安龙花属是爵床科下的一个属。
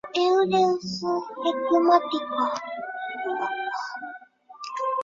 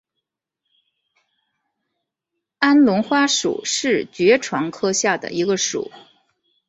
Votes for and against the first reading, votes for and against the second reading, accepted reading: 0, 2, 7, 0, second